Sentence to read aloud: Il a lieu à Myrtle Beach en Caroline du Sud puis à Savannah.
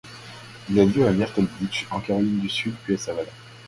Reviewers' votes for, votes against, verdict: 2, 0, accepted